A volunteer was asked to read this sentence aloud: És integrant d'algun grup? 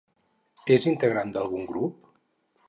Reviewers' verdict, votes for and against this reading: accepted, 2, 0